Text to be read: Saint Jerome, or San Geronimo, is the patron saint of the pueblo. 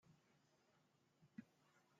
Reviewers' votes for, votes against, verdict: 0, 2, rejected